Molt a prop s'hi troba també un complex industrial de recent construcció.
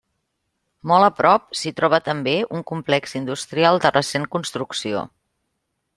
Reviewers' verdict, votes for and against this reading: accepted, 3, 0